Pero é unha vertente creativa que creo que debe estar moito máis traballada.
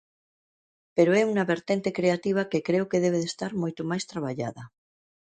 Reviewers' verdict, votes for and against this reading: rejected, 0, 2